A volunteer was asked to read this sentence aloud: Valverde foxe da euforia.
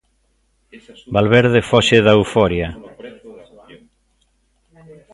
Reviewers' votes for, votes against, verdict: 2, 0, accepted